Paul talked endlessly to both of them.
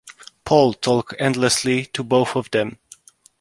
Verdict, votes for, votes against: accepted, 2, 0